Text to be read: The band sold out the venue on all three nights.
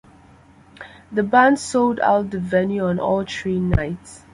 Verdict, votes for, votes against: rejected, 1, 2